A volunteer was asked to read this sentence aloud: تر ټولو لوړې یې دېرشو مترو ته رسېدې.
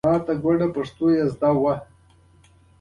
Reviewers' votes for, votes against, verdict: 2, 0, accepted